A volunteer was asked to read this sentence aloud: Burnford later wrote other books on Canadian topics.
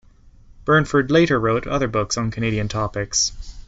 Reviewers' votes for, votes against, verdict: 2, 0, accepted